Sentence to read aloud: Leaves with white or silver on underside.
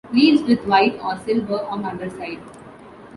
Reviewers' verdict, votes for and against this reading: accepted, 2, 0